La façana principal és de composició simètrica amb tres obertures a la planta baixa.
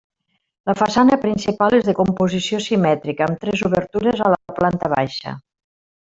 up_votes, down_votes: 0, 2